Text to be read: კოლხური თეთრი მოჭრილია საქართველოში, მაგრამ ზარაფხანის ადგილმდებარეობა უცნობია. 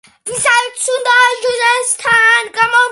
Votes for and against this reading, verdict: 1, 2, rejected